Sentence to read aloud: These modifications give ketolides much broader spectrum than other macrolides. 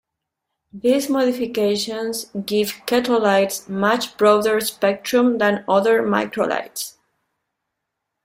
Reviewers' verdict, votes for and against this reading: rejected, 1, 2